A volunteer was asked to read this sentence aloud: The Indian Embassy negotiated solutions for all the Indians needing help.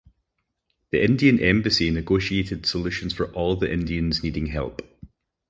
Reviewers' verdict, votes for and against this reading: accepted, 4, 0